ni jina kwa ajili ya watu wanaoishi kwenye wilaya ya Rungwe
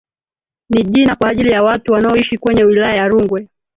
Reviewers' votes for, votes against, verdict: 0, 2, rejected